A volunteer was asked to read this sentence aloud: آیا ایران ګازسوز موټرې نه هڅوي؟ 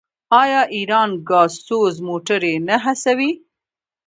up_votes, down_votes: 1, 2